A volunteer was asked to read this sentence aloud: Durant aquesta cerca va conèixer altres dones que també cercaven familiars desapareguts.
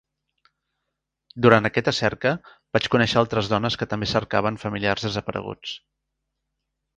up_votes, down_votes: 0, 2